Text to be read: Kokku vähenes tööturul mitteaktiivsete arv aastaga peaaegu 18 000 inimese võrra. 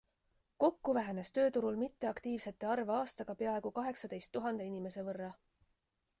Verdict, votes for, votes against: rejected, 0, 2